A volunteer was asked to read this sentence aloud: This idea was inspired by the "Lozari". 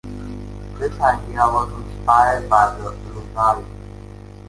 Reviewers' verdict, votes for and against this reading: rejected, 1, 2